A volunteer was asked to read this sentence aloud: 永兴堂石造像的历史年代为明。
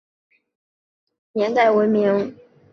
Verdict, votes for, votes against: rejected, 0, 2